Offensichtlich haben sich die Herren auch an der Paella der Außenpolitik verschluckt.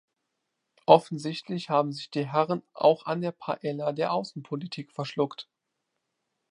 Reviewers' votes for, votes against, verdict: 2, 0, accepted